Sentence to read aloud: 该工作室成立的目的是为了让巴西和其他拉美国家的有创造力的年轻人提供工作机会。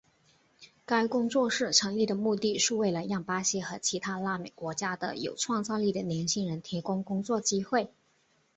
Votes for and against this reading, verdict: 4, 0, accepted